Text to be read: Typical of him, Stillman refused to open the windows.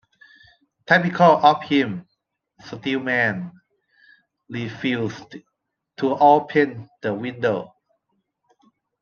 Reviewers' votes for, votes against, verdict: 0, 2, rejected